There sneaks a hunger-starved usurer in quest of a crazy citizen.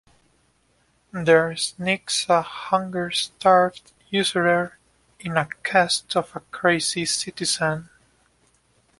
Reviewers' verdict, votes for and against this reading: rejected, 1, 2